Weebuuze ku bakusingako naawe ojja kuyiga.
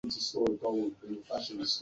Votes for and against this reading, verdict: 1, 2, rejected